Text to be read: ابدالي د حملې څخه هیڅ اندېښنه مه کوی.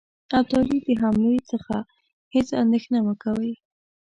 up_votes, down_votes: 2, 0